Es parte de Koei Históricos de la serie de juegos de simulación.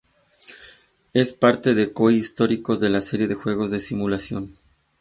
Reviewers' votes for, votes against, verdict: 2, 0, accepted